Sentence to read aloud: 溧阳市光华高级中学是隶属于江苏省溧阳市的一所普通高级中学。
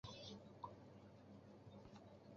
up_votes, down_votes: 0, 2